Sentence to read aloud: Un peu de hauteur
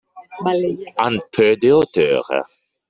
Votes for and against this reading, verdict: 0, 2, rejected